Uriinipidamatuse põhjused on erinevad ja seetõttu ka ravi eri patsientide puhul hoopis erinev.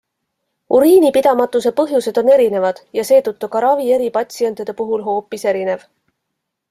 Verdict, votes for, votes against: accepted, 2, 0